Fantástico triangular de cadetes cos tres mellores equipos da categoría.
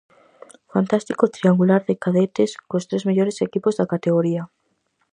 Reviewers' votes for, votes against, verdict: 4, 0, accepted